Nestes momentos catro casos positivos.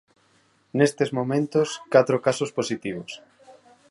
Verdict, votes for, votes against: accepted, 4, 0